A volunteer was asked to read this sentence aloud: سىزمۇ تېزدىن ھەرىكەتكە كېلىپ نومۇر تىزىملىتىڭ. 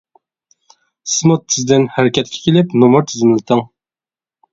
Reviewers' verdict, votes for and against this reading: rejected, 0, 2